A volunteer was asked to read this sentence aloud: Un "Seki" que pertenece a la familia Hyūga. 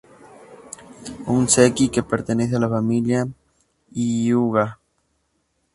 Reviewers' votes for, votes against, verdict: 2, 0, accepted